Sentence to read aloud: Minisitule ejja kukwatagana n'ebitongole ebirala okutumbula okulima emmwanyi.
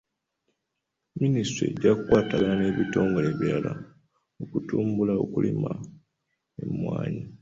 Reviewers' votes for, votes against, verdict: 2, 0, accepted